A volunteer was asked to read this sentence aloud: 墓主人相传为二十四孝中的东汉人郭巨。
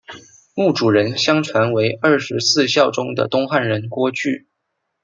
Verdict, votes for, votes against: accepted, 2, 0